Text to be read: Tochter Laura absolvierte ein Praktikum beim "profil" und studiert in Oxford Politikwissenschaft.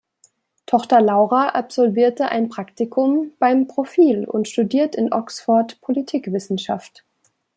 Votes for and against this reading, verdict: 2, 0, accepted